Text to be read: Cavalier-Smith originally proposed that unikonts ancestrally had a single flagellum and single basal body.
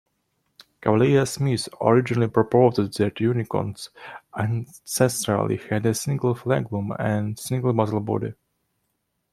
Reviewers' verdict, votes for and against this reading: accepted, 2, 1